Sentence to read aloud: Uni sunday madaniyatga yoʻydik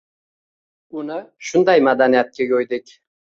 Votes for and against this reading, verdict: 2, 1, accepted